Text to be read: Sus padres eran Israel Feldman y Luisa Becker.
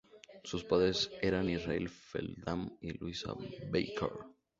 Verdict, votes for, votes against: accepted, 2, 0